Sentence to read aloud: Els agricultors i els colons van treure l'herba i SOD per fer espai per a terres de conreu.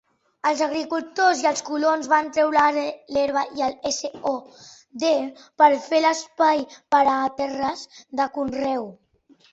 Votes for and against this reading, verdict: 1, 2, rejected